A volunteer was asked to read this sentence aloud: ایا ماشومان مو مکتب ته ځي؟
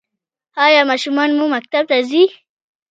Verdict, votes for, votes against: rejected, 1, 2